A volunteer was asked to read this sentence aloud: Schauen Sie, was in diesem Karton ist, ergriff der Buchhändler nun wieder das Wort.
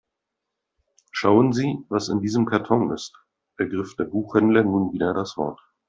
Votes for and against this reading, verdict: 2, 0, accepted